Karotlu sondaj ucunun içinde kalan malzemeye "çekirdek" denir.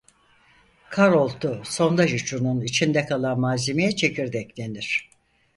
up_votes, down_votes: 0, 4